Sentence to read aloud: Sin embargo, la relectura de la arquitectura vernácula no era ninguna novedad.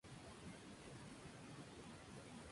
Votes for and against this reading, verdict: 0, 2, rejected